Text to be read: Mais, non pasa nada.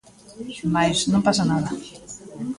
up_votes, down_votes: 2, 0